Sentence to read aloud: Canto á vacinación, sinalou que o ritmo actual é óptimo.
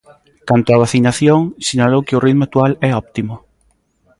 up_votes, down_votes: 1, 2